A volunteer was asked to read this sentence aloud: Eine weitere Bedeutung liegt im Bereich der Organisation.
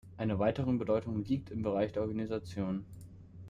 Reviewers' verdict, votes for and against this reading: rejected, 0, 2